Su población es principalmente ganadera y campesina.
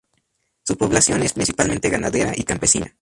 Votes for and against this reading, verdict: 0, 2, rejected